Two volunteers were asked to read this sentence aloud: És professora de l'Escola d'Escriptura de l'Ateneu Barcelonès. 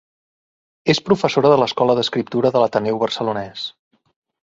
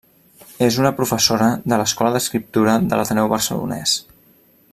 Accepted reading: first